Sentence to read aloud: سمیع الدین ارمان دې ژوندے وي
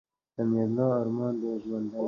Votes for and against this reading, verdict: 1, 2, rejected